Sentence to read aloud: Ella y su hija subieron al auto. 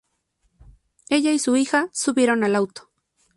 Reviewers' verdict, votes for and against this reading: accepted, 4, 0